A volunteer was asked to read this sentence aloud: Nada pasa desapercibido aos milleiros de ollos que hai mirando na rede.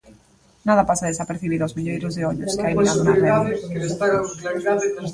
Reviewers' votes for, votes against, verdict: 0, 2, rejected